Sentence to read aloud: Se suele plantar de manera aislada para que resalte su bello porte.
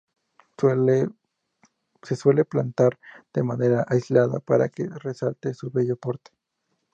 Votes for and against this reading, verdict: 0, 4, rejected